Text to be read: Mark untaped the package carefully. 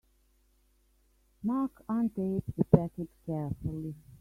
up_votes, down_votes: 1, 3